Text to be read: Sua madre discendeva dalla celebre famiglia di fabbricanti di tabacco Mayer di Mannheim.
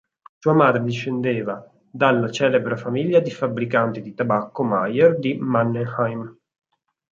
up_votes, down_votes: 2, 4